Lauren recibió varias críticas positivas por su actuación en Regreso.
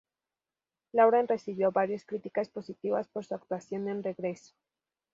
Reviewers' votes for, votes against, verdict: 4, 0, accepted